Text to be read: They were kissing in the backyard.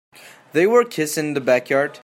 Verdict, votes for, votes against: rejected, 1, 2